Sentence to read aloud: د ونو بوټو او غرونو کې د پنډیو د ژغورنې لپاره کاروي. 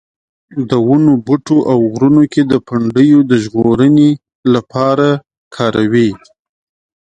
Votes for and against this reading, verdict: 2, 0, accepted